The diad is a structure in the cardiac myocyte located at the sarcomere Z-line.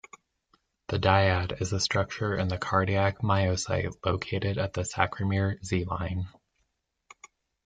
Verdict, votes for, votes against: accepted, 2, 0